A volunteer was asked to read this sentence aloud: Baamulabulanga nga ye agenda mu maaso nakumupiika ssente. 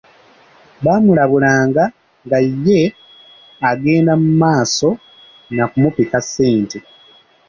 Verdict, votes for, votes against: accepted, 2, 1